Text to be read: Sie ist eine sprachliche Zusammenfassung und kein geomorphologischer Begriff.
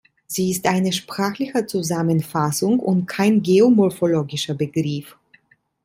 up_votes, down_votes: 2, 0